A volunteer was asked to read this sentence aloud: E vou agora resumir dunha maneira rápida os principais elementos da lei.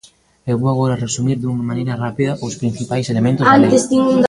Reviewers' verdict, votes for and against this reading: rejected, 0, 2